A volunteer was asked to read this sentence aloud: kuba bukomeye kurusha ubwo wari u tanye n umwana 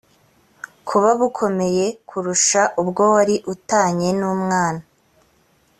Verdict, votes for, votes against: accepted, 2, 0